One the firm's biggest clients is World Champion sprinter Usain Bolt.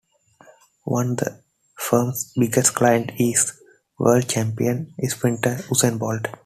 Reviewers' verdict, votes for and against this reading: accepted, 2, 1